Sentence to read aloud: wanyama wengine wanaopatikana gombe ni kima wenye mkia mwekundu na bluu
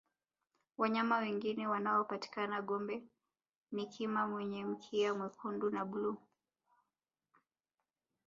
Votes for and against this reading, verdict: 1, 2, rejected